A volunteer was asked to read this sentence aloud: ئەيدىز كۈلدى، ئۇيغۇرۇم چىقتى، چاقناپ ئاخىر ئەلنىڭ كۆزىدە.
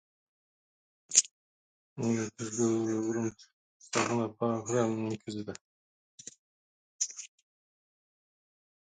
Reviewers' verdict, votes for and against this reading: rejected, 0, 2